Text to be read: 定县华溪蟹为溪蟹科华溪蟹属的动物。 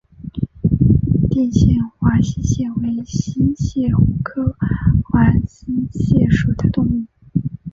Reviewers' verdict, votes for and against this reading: accepted, 4, 1